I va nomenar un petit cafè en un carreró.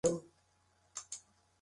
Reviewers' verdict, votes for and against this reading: rejected, 0, 2